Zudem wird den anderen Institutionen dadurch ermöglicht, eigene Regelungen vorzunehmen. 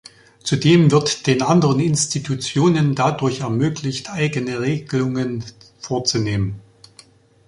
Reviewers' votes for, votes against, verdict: 1, 2, rejected